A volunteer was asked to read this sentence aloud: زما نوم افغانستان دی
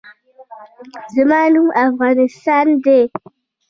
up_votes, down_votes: 1, 2